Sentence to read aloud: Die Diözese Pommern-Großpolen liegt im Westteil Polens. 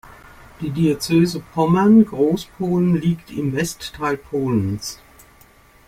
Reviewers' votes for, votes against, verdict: 2, 0, accepted